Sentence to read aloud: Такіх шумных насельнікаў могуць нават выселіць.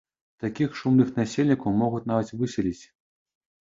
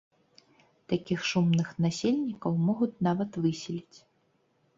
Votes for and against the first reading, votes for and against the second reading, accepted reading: 1, 2, 2, 0, second